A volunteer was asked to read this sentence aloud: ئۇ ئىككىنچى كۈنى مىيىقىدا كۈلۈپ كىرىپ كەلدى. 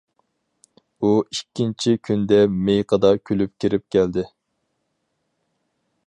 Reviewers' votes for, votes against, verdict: 0, 4, rejected